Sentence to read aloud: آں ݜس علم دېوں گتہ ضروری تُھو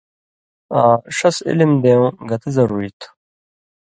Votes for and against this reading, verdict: 2, 0, accepted